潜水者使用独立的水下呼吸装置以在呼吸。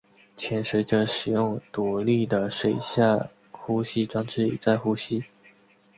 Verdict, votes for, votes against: accepted, 4, 0